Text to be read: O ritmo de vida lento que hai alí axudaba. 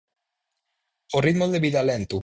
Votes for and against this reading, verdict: 0, 4, rejected